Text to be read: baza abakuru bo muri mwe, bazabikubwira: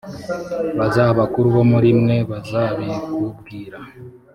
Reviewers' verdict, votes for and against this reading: accepted, 3, 0